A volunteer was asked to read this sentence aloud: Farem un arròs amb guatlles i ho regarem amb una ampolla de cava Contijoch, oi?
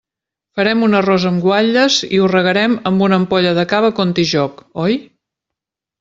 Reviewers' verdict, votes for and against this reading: accepted, 3, 0